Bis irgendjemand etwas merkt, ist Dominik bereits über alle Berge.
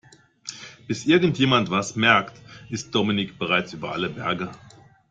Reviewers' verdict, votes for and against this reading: rejected, 0, 2